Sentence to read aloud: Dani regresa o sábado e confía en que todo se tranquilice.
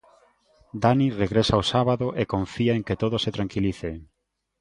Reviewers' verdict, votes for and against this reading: accepted, 2, 0